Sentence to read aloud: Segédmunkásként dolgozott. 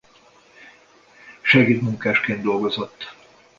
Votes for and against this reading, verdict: 2, 0, accepted